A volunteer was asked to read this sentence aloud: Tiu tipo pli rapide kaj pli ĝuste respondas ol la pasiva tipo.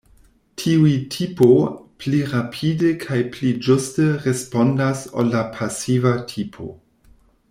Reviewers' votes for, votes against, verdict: 1, 2, rejected